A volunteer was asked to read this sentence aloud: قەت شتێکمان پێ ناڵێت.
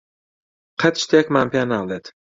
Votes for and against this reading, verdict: 2, 0, accepted